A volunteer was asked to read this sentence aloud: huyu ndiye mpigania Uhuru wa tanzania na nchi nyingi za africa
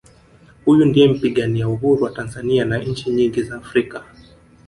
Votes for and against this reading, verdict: 2, 0, accepted